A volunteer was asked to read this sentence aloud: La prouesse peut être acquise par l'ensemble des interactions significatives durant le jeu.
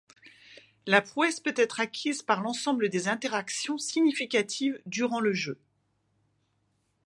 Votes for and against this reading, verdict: 2, 0, accepted